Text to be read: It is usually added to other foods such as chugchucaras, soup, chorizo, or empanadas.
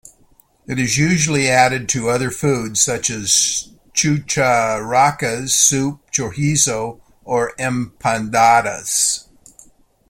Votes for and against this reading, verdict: 1, 2, rejected